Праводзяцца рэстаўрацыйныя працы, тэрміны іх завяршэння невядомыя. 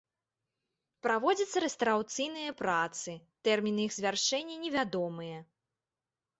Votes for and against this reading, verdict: 0, 2, rejected